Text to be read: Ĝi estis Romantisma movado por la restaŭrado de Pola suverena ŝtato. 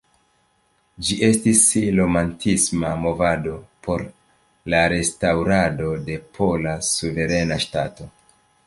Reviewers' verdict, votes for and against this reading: accepted, 2, 0